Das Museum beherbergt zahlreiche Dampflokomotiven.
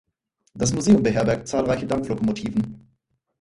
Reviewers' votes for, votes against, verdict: 0, 4, rejected